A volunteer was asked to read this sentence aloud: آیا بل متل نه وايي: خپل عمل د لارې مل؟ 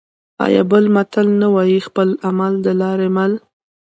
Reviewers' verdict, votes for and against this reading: accepted, 2, 0